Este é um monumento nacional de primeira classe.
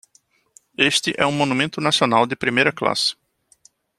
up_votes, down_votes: 2, 0